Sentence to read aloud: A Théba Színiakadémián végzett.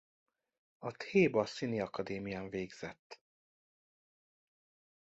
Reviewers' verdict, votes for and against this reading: rejected, 0, 2